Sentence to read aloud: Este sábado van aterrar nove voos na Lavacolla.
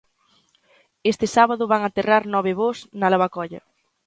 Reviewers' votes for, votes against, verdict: 2, 0, accepted